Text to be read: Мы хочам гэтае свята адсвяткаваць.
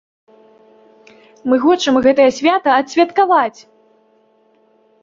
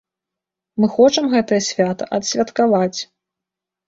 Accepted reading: second